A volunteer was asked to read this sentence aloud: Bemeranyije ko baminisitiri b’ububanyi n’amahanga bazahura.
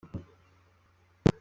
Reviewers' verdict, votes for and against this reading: rejected, 0, 2